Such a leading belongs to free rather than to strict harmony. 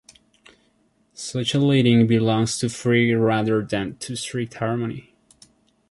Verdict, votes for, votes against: accepted, 3, 1